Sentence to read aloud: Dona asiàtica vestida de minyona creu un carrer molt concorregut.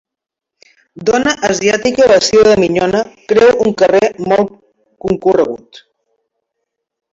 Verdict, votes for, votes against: accepted, 2, 1